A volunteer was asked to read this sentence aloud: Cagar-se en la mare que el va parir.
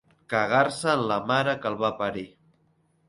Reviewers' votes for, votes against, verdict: 2, 0, accepted